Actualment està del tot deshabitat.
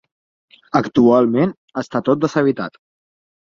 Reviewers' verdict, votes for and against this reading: rejected, 2, 4